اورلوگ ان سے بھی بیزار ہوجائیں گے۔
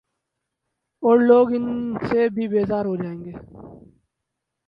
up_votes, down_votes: 0, 2